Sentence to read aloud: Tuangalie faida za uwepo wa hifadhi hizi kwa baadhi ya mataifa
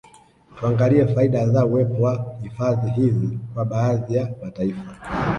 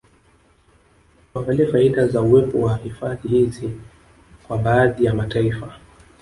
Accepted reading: second